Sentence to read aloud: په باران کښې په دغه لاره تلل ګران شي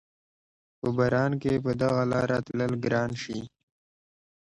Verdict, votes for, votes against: accepted, 2, 0